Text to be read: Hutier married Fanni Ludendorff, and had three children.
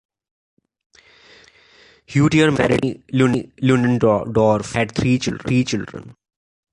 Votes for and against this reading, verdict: 0, 2, rejected